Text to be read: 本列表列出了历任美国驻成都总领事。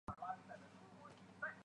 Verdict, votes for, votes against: rejected, 1, 3